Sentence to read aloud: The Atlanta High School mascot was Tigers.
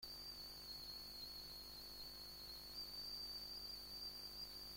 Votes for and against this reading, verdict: 0, 2, rejected